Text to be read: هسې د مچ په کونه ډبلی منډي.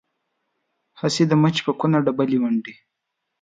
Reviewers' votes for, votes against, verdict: 2, 0, accepted